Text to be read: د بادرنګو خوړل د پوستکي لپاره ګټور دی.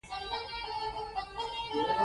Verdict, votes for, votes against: accepted, 2, 1